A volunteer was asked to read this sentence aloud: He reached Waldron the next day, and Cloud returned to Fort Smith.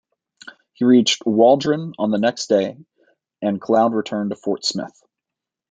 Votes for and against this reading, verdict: 0, 2, rejected